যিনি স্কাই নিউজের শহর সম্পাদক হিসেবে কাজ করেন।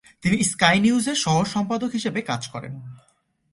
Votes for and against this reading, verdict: 1, 2, rejected